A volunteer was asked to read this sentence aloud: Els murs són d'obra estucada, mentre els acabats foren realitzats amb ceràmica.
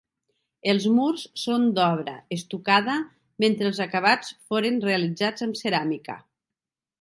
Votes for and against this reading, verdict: 2, 0, accepted